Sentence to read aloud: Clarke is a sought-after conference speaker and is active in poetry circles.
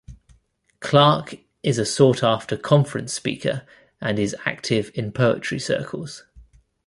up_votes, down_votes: 2, 0